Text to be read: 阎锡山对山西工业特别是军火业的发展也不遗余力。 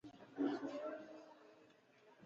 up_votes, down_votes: 1, 2